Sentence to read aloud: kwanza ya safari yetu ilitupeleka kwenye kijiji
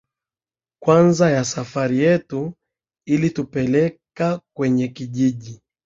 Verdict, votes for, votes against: accepted, 2, 0